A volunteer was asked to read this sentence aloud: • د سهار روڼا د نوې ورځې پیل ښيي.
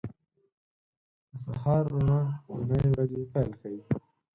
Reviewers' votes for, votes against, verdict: 0, 4, rejected